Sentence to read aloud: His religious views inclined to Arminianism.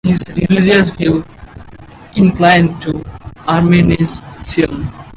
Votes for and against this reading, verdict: 0, 4, rejected